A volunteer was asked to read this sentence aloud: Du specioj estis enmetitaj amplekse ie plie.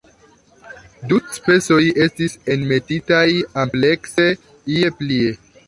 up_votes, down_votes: 0, 2